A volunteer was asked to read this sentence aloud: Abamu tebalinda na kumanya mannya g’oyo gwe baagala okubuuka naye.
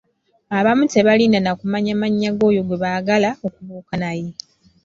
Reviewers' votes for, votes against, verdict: 2, 0, accepted